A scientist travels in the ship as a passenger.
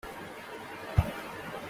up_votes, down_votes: 0, 2